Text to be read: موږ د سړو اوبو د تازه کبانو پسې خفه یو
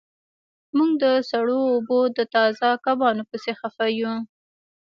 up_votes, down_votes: 2, 1